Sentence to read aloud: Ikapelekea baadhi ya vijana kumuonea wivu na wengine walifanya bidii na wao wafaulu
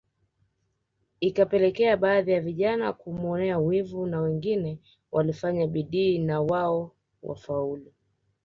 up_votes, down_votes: 2, 1